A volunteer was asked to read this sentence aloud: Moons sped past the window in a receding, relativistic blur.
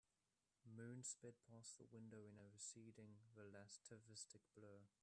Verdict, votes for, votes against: rejected, 0, 2